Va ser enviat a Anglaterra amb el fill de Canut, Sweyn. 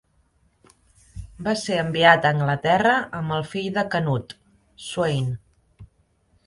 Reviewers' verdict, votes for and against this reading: accepted, 3, 0